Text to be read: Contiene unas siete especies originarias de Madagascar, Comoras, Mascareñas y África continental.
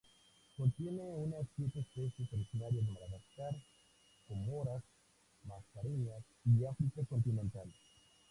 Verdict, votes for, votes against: accepted, 2, 0